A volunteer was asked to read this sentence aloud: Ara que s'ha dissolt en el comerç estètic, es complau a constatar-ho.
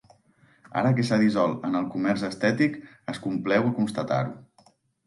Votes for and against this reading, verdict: 2, 3, rejected